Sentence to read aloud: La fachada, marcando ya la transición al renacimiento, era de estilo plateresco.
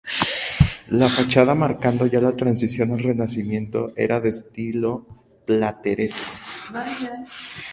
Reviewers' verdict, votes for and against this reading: rejected, 0, 2